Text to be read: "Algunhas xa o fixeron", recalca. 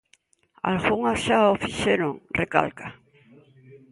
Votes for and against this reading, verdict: 2, 0, accepted